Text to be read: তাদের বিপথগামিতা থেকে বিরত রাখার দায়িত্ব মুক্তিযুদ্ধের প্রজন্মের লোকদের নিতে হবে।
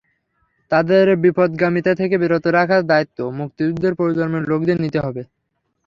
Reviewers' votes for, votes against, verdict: 3, 0, accepted